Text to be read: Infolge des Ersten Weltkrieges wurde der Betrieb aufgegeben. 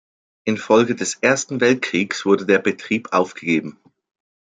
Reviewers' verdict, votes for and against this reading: rejected, 1, 2